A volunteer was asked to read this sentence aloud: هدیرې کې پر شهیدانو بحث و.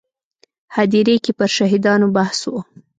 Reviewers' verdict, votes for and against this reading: accepted, 2, 0